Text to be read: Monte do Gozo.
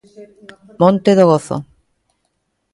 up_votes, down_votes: 1, 2